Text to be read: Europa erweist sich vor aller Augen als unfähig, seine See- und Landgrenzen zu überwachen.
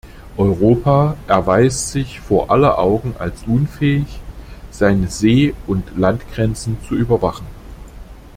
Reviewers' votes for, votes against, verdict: 3, 0, accepted